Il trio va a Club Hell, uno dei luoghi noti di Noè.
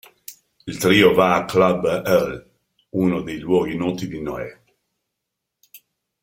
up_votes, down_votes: 2, 1